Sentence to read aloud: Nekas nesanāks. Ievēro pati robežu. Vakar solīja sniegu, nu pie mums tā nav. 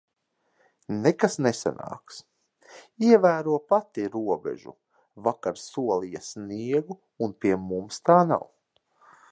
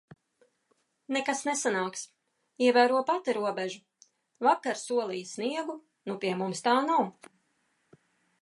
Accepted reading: second